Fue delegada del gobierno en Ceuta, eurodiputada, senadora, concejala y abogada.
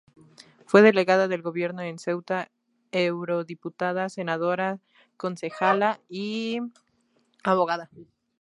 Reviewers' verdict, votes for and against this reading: accepted, 2, 0